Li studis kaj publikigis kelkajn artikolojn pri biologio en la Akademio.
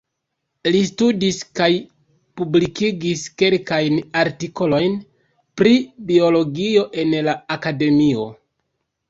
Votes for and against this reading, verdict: 0, 2, rejected